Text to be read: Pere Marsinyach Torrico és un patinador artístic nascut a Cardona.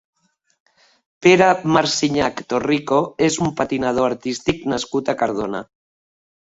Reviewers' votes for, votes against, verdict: 3, 0, accepted